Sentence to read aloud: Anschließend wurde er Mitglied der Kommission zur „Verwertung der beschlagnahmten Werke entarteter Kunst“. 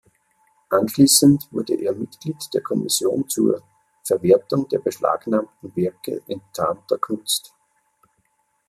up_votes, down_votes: 0, 3